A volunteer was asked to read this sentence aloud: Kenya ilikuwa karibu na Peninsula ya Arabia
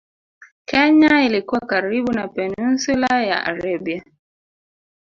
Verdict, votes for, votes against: rejected, 1, 2